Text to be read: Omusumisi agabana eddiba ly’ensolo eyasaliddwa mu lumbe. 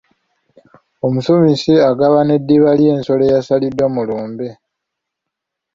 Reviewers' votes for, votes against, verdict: 2, 0, accepted